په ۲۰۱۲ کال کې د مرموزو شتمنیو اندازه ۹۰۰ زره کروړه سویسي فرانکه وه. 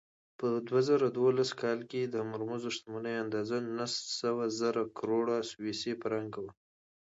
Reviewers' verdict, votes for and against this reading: rejected, 0, 2